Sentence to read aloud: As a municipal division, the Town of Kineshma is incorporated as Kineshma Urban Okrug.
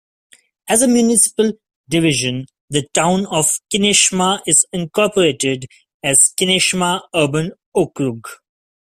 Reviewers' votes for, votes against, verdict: 2, 0, accepted